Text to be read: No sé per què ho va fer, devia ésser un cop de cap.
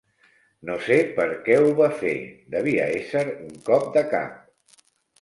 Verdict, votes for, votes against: accepted, 3, 1